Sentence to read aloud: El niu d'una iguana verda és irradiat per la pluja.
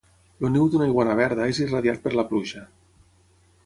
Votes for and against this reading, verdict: 6, 0, accepted